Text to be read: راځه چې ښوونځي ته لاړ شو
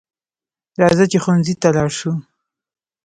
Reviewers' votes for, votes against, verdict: 2, 0, accepted